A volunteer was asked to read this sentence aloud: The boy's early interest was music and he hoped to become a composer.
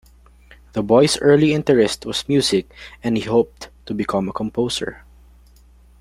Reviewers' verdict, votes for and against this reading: accepted, 2, 0